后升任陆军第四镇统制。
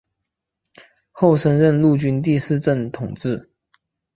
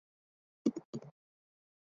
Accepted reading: first